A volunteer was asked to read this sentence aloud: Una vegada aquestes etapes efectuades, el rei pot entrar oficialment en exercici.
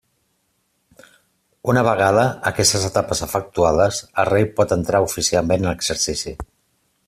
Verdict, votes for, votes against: accepted, 2, 0